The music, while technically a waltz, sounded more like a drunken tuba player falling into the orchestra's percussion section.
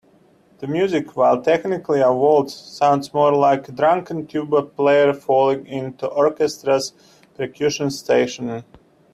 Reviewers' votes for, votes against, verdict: 1, 2, rejected